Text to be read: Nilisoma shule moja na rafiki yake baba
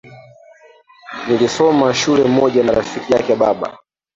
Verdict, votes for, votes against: rejected, 0, 2